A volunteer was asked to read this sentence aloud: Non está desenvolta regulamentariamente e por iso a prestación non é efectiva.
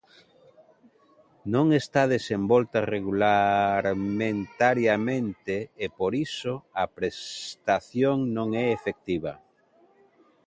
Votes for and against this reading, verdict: 0, 2, rejected